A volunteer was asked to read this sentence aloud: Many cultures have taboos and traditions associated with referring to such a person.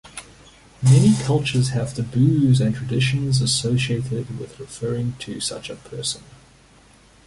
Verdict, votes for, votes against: rejected, 1, 2